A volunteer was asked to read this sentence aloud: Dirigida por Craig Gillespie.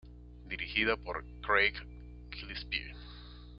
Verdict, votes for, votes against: rejected, 1, 2